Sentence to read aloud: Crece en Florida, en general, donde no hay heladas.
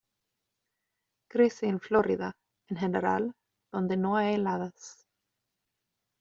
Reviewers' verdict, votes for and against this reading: accepted, 2, 0